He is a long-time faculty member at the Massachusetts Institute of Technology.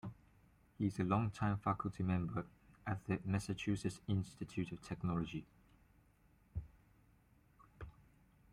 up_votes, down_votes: 1, 2